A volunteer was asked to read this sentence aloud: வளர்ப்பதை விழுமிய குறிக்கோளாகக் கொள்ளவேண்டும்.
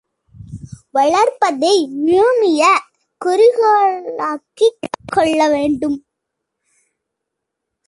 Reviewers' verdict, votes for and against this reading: rejected, 0, 2